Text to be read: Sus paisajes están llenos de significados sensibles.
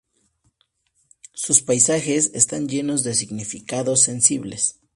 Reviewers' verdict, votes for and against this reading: accepted, 2, 0